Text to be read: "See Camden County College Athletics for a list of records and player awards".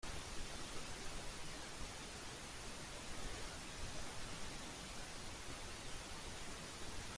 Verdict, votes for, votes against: rejected, 0, 2